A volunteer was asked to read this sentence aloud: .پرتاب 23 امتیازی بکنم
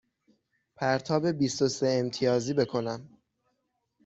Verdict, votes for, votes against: rejected, 0, 2